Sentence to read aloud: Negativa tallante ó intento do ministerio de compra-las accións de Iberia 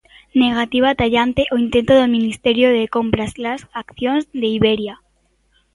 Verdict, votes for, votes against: rejected, 1, 2